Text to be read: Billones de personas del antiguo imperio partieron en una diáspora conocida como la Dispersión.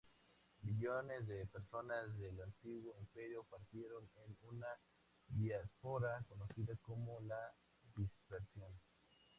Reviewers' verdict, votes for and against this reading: accepted, 2, 0